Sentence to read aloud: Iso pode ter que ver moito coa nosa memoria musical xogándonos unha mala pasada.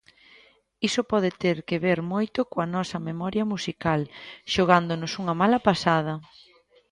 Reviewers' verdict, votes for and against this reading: accepted, 2, 0